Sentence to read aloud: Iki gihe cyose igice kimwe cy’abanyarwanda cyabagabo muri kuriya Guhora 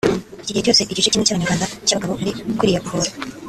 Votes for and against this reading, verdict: 0, 2, rejected